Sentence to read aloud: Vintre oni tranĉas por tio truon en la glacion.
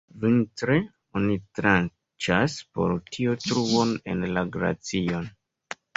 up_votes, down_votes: 2, 0